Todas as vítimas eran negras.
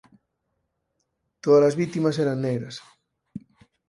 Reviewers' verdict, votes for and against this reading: rejected, 8, 10